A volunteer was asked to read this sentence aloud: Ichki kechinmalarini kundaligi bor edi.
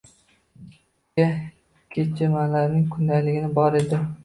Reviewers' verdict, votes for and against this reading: rejected, 0, 2